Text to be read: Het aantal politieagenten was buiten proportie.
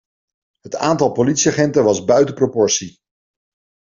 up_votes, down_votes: 2, 0